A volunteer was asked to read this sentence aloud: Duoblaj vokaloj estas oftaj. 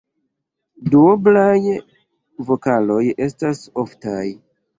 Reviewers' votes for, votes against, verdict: 1, 2, rejected